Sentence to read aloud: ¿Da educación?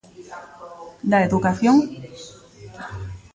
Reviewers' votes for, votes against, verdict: 2, 0, accepted